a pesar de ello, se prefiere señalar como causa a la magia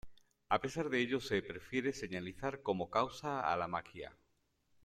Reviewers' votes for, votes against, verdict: 0, 2, rejected